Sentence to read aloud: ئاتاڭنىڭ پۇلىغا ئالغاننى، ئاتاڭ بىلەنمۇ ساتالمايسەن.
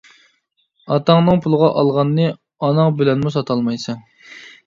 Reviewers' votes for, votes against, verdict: 0, 2, rejected